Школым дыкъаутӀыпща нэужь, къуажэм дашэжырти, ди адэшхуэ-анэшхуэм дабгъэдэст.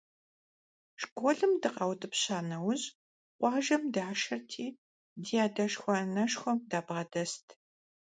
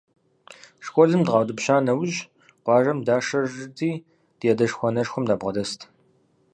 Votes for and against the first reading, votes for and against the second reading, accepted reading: 1, 2, 2, 0, second